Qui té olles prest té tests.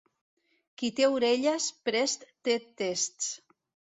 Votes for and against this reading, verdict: 1, 2, rejected